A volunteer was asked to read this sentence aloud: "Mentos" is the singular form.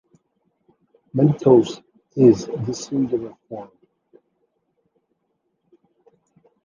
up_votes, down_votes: 2, 0